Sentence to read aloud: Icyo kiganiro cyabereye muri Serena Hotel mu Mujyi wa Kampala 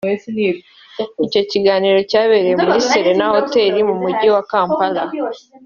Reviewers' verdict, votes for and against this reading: accepted, 2, 0